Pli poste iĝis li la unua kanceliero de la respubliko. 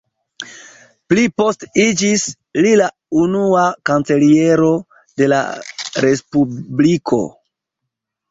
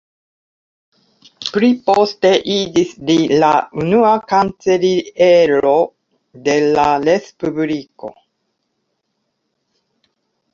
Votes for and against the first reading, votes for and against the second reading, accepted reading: 1, 2, 2, 1, second